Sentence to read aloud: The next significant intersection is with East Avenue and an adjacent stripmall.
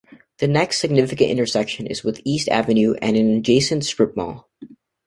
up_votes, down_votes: 2, 0